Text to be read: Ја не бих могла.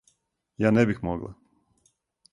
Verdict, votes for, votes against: accepted, 6, 0